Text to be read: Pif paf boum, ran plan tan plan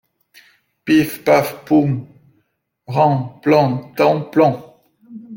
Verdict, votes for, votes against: rejected, 0, 2